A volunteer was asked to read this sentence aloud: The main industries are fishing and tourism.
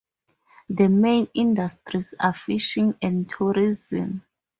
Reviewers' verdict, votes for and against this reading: rejected, 2, 2